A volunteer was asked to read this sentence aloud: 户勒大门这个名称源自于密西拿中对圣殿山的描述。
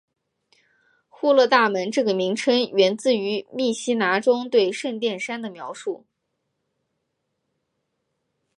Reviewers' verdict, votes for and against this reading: accepted, 5, 1